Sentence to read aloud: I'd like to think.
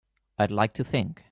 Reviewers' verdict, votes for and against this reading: accepted, 2, 0